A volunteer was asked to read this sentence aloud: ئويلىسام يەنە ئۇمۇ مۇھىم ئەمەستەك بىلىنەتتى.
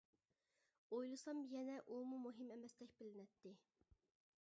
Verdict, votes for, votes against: accepted, 2, 0